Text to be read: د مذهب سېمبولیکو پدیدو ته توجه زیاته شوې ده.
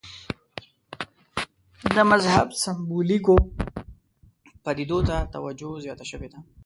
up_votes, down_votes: 1, 2